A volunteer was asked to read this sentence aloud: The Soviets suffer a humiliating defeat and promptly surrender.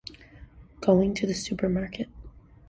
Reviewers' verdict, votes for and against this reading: rejected, 0, 2